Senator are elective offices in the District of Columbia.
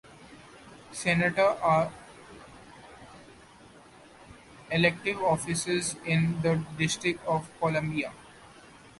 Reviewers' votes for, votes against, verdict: 2, 1, accepted